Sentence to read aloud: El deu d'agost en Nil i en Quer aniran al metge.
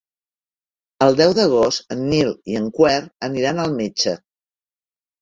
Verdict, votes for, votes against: rejected, 0, 2